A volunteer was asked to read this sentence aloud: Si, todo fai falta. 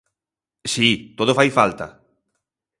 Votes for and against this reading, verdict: 2, 0, accepted